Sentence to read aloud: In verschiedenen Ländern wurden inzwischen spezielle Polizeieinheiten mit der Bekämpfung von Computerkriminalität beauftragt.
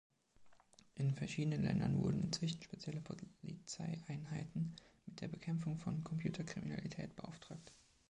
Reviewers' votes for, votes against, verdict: 2, 0, accepted